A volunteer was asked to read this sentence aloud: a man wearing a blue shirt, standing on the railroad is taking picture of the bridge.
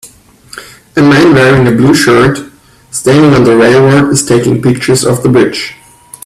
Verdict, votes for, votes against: accepted, 2, 1